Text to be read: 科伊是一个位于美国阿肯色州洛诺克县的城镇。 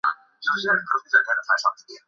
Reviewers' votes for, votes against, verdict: 1, 2, rejected